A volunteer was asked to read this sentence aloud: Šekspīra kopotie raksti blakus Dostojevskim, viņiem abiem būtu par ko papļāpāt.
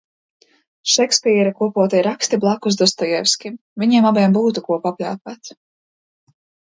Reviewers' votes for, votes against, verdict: 0, 2, rejected